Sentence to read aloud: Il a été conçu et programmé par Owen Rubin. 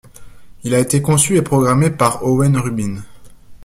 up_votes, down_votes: 2, 0